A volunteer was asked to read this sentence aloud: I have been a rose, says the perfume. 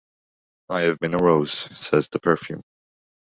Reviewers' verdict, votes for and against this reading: accepted, 2, 0